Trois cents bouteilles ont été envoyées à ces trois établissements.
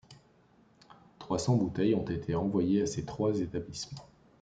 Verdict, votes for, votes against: rejected, 1, 2